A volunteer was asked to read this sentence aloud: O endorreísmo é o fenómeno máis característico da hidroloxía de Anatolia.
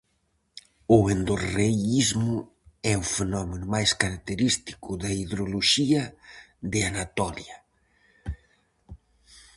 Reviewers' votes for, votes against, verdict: 2, 2, rejected